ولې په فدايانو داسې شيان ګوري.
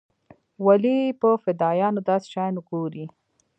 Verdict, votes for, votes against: accepted, 2, 0